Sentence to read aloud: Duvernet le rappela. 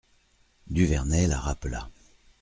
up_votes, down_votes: 0, 2